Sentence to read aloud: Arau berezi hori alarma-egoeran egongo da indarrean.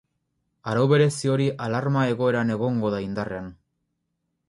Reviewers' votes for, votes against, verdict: 4, 0, accepted